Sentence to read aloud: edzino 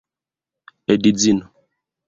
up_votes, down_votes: 2, 0